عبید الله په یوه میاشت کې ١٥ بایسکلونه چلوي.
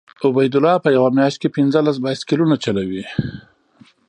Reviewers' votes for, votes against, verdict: 0, 2, rejected